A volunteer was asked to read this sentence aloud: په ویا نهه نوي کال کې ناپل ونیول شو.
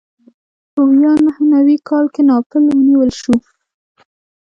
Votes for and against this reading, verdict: 0, 2, rejected